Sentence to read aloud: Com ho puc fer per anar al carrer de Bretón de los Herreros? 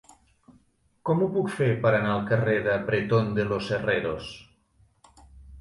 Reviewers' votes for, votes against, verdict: 2, 0, accepted